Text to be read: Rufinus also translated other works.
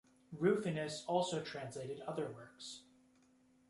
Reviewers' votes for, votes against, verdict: 2, 1, accepted